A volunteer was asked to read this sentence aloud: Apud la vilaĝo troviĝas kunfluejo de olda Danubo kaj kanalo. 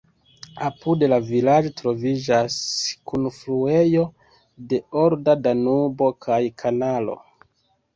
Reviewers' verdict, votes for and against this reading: rejected, 1, 2